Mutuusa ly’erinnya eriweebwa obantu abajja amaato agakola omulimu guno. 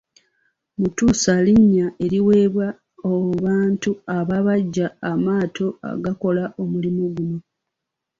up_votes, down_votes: 1, 2